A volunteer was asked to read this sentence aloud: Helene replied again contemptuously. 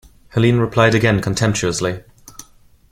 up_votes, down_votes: 2, 0